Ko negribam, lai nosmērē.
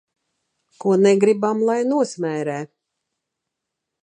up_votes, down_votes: 3, 0